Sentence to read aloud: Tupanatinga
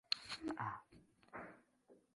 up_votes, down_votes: 0, 2